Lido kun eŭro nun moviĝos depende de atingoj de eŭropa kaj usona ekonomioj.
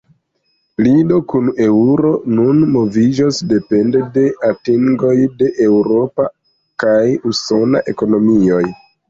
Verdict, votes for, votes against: accepted, 2, 0